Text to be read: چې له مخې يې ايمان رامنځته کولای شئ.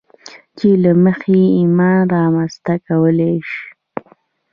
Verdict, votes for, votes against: rejected, 0, 2